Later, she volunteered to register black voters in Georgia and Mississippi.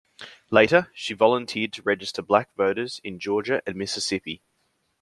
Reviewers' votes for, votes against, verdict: 2, 1, accepted